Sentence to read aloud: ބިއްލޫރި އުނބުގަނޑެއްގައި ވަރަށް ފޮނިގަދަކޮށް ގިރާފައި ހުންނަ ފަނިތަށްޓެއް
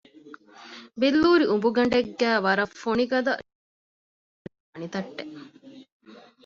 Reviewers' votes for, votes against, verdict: 0, 2, rejected